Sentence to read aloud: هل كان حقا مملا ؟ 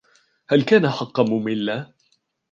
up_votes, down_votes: 2, 0